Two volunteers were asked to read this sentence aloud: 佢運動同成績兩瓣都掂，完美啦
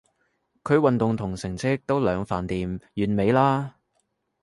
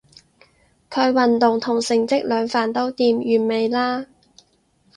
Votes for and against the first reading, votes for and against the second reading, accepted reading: 0, 2, 4, 0, second